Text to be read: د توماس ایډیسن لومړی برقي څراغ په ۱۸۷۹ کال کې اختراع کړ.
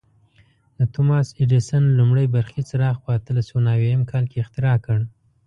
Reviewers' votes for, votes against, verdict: 0, 2, rejected